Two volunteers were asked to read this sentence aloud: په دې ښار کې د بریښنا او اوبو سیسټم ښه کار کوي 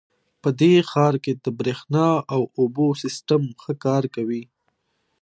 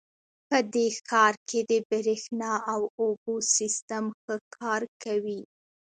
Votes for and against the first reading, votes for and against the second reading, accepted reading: 2, 0, 1, 2, first